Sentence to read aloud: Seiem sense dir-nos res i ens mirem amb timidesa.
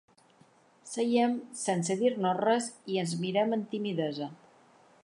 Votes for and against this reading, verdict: 2, 0, accepted